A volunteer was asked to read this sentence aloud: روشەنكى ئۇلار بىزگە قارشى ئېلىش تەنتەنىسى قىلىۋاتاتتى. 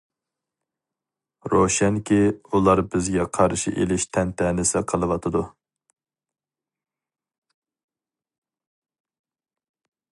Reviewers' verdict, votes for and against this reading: rejected, 0, 2